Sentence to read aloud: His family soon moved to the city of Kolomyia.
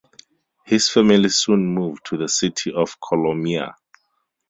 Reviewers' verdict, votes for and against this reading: rejected, 2, 2